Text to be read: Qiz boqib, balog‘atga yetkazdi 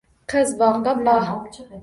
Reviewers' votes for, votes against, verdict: 1, 2, rejected